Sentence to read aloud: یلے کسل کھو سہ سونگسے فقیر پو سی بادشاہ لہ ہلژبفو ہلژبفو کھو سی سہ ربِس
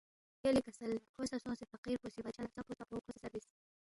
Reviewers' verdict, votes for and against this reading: rejected, 1, 2